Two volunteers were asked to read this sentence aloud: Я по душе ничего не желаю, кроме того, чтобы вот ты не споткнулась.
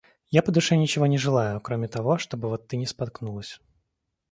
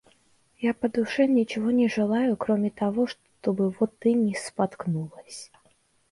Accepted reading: first